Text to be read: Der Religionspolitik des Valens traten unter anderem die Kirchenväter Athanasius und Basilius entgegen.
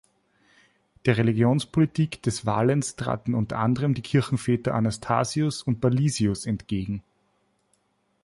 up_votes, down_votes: 1, 2